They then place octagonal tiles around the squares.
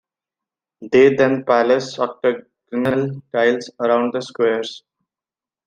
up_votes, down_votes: 0, 2